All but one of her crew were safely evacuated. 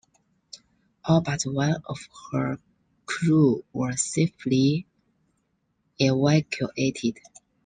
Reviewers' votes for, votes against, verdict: 2, 1, accepted